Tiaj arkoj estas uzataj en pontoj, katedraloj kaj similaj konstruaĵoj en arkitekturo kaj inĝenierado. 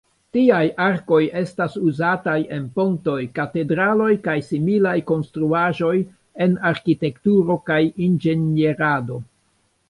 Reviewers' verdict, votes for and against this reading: rejected, 0, 3